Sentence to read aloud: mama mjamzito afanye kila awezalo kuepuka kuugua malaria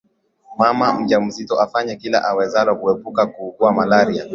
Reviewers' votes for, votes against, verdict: 2, 0, accepted